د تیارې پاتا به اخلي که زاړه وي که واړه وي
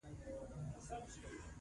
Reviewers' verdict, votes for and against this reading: rejected, 0, 2